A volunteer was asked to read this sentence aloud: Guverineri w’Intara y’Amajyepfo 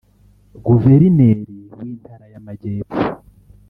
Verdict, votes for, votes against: accepted, 3, 1